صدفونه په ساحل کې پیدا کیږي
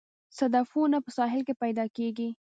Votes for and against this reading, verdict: 0, 2, rejected